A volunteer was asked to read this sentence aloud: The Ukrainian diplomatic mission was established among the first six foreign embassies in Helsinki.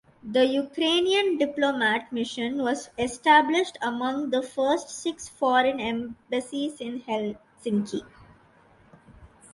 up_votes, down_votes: 0, 2